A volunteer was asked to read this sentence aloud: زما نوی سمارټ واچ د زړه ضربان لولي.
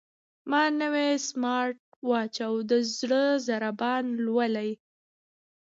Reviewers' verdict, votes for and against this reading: accepted, 2, 0